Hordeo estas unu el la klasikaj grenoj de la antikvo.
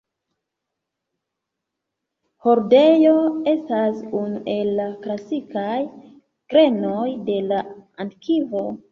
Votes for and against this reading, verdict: 1, 2, rejected